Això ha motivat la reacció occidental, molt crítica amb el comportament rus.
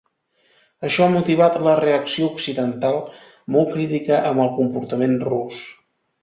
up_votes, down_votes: 2, 0